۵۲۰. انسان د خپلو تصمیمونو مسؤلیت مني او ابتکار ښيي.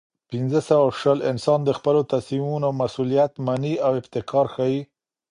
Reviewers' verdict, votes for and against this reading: rejected, 0, 2